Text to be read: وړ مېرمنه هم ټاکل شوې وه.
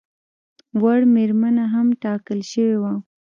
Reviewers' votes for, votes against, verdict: 0, 2, rejected